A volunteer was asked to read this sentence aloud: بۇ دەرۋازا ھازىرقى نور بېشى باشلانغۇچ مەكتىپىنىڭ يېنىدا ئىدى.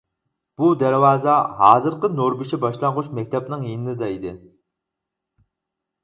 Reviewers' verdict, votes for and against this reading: rejected, 0, 4